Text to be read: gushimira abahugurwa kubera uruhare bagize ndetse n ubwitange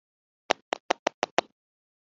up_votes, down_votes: 0, 2